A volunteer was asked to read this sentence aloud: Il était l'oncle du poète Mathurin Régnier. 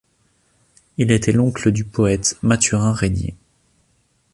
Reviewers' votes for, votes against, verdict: 2, 0, accepted